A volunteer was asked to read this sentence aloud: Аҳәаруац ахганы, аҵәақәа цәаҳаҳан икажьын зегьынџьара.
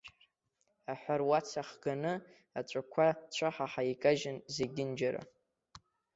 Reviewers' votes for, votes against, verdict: 2, 1, accepted